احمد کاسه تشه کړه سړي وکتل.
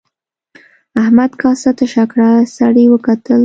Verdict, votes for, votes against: accepted, 2, 0